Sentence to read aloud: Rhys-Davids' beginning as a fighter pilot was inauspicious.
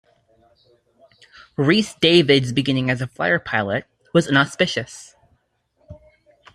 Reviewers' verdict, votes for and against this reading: accepted, 2, 0